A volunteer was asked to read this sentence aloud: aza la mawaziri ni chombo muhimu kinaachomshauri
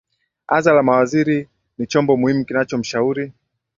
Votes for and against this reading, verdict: 13, 2, accepted